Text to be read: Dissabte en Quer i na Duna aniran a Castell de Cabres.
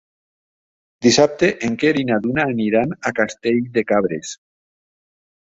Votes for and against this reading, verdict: 3, 0, accepted